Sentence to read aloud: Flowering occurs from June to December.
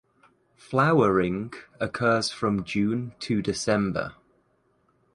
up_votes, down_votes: 2, 0